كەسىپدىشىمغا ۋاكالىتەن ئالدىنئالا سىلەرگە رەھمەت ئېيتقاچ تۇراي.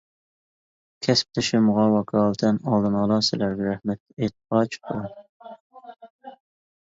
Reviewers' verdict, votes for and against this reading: rejected, 1, 2